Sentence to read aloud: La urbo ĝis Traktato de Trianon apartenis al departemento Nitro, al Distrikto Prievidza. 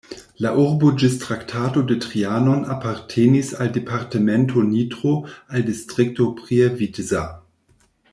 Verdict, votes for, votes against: accepted, 2, 0